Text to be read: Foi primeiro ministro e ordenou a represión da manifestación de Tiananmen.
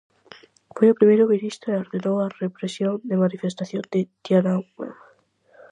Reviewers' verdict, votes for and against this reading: rejected, 0, 4